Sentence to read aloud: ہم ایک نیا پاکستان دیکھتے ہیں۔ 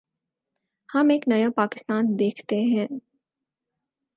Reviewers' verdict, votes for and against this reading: accepted, 4, 0